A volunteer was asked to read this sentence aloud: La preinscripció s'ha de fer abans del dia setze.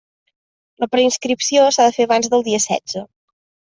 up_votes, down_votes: 3, 0